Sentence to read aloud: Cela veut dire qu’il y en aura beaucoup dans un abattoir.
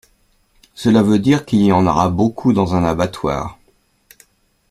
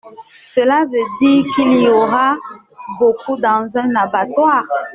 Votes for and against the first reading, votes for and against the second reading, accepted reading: 2, 0, 0, 2, first